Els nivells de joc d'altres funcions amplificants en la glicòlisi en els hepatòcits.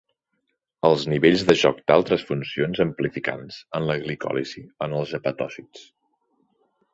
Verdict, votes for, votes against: accepted, 8, 0